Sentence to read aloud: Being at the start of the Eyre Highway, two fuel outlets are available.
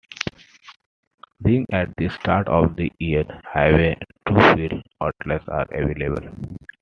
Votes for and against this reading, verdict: 2, 0, accepted